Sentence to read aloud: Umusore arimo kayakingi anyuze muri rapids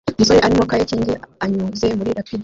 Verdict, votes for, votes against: rejected, 0, 2